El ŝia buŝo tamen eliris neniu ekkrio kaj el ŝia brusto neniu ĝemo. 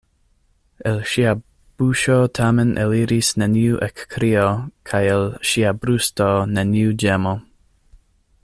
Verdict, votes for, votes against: accepted, 2, 0